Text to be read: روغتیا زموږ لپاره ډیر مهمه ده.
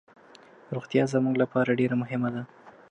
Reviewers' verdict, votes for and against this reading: accepted, 2, 1